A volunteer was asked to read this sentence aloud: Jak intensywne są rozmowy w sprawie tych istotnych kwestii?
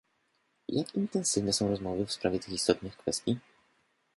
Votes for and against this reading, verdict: 1, 2, rejected